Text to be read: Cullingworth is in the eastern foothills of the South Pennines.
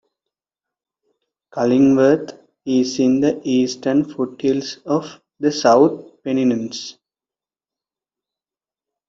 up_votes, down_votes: 2, 1